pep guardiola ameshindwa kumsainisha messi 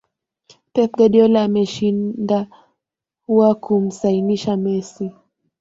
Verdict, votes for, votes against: rejected, 0, 2